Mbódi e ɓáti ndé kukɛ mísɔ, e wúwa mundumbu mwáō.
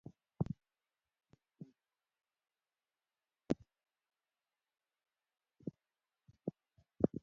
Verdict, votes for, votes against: rejected, 1, 2